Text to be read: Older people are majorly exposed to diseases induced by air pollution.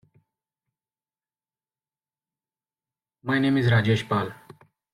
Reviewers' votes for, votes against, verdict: 1, 2, rejected